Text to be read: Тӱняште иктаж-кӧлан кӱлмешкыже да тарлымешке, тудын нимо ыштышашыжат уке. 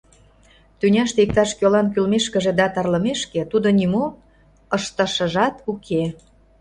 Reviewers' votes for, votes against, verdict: 0, 2, rejected